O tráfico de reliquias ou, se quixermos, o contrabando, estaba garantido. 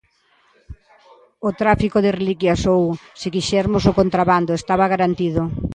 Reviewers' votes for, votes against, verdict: 2, 0, accepted